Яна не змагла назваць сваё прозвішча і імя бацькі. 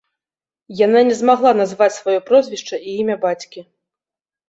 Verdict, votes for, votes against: rejected, 0, 2